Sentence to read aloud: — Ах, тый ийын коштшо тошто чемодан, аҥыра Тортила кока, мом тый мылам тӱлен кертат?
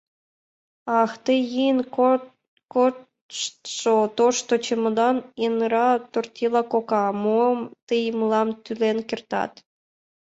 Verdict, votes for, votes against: rejected, 0, 2